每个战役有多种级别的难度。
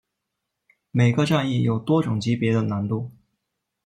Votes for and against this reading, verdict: 2, 0, accepted